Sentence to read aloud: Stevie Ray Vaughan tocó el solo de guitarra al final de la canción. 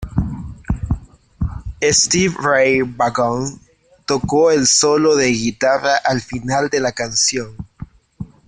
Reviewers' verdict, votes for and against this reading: rejected, 0, 2